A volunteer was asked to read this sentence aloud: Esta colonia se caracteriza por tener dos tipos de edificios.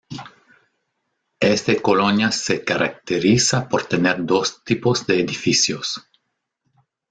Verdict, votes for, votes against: rejected, 0, 2